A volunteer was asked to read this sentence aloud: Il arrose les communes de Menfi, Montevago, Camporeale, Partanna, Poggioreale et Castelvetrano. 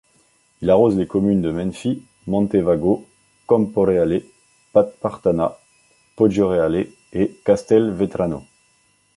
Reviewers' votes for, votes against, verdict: 0, 3, rejected